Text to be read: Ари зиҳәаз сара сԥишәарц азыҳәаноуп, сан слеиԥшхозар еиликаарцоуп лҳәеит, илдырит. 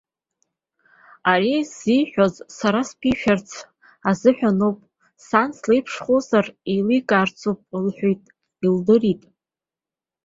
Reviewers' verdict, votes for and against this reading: accepted, 3, 1